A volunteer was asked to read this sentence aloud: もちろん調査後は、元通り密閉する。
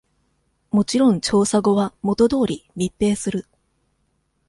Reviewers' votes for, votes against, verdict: 2, 0, accepted